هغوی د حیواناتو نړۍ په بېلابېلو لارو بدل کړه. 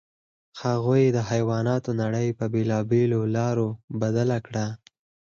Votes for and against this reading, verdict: 0, 4, rejected